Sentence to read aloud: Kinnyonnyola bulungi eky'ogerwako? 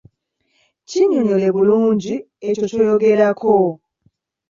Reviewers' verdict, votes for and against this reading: rejected, 1, 2